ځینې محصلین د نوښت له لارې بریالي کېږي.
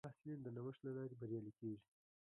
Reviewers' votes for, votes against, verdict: 1, 2, rejected